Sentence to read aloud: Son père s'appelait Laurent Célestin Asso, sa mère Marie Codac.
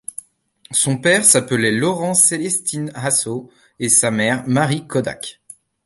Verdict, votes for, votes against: rejected, 0, 2